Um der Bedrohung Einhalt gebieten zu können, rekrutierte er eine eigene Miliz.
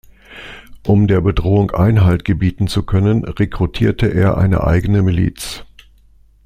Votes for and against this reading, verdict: 2, 0, accepted